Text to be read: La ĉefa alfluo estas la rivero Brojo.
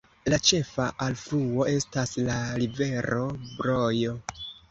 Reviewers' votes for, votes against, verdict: 2, 0, accepted